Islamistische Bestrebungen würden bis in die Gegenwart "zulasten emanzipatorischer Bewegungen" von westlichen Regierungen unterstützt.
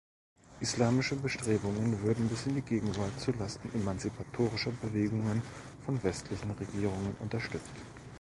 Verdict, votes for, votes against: rejected, 0, 2